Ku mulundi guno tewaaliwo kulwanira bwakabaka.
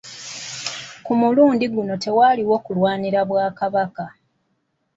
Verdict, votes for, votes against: accepted, 2, 0